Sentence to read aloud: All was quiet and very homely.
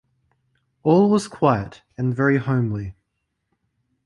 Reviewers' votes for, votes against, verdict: 2, 0, accepted